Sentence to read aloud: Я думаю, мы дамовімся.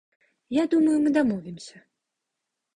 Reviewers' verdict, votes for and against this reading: accepted, 2, 1